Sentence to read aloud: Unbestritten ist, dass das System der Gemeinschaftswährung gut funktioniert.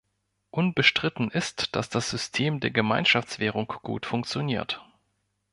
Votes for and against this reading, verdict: 2, 0, accepted